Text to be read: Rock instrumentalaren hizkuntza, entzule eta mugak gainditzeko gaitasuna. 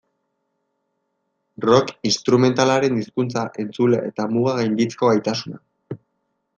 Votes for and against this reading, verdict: 2, 0, accepted